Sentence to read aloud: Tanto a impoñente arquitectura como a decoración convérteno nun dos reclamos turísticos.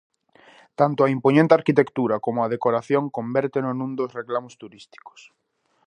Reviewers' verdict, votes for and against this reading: accepted, 4, 0